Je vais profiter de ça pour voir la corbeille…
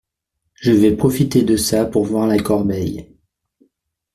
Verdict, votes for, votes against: accepted, 2, 0